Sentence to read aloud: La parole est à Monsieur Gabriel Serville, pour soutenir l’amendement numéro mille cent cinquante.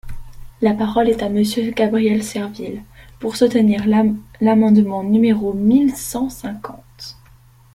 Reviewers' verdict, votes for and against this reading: rejected, 0, 2